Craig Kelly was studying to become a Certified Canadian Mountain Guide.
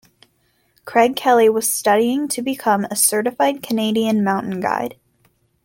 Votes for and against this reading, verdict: 2, 0, accepted